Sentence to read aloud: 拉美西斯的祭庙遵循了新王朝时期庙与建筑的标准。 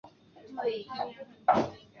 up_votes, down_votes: 0, 3